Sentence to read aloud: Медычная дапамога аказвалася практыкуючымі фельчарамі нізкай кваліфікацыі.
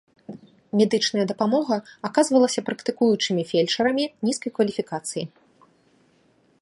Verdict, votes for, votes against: accepted, 2, 0